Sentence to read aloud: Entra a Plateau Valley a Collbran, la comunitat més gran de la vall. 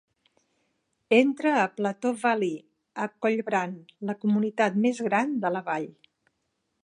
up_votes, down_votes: 2, 0